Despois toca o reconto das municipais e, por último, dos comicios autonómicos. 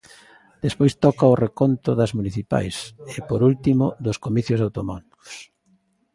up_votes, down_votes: 1, 2